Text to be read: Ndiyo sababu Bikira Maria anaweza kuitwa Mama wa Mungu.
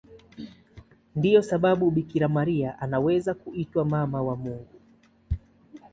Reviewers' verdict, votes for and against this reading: accepted, 2, 0